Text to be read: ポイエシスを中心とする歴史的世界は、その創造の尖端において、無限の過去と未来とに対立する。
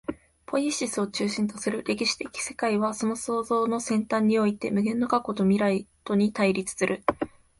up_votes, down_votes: 2, 0